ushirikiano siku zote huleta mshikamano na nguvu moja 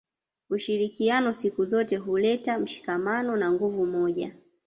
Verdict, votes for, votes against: rejected, 0, 2